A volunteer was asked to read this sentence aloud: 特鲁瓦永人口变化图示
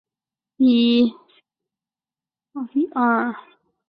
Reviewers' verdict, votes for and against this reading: rejected, 0, 3